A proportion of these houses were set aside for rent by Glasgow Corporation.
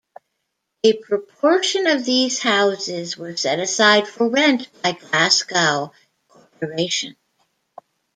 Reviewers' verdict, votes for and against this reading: accepted, 3, 2